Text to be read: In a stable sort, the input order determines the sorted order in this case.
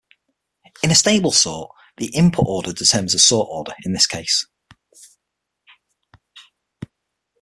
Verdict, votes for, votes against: accepted, 6, 0